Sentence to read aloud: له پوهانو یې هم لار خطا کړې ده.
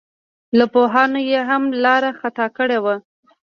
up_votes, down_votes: 2, 0